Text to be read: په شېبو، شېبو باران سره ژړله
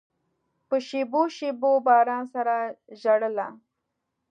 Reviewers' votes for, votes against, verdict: 2, 0, accepted